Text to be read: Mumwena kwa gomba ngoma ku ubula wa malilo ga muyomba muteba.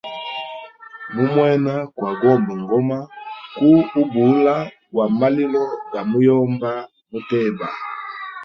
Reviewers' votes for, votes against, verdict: 0, 2, rejected